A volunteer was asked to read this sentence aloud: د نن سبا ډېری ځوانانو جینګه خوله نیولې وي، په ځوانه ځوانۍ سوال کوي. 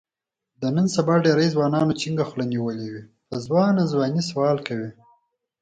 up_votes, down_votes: 4, 2